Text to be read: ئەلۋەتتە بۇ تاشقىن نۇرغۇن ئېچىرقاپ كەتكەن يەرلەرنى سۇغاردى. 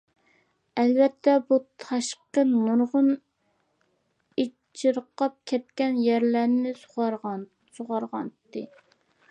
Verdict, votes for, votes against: rejected, 0, 2